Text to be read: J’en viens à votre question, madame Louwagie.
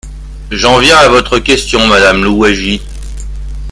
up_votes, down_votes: 0, 2